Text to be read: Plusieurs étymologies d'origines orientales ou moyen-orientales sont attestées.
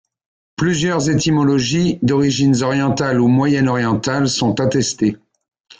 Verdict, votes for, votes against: accepted, 2, 0